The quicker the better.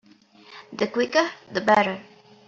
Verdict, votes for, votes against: accepted, 4, 0